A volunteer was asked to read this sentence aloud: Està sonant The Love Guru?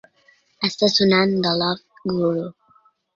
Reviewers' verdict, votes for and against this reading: rejected, 2, 3